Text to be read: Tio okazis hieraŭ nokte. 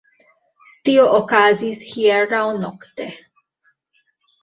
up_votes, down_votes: 2, 1